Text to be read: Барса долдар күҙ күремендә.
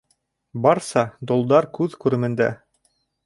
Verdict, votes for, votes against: accepted, 2, 0